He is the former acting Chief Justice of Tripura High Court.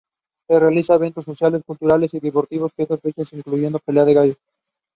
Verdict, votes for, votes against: rejected, 0, 2